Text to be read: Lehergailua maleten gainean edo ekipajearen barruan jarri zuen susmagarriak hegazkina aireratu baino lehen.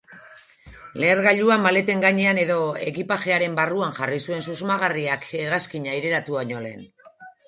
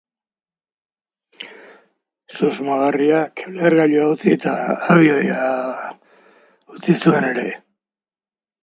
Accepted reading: first